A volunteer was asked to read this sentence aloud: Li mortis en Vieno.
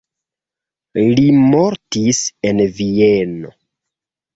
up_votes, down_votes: 2, 0